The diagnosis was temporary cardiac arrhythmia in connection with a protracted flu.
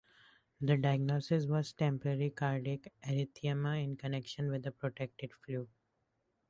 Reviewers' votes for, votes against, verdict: 0, 2, rejected